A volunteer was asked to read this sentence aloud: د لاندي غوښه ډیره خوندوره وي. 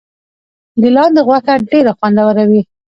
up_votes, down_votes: 2, 1